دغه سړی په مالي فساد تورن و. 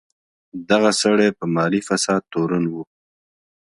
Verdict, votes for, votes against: accepted, 2, 0